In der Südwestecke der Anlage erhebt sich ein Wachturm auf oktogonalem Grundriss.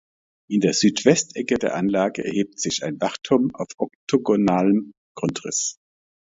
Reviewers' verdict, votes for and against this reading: accepted, 2, 0